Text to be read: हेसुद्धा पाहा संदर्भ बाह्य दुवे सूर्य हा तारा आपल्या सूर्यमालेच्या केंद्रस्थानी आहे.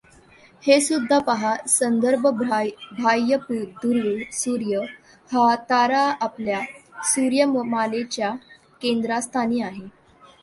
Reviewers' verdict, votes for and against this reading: rejected, 0, 2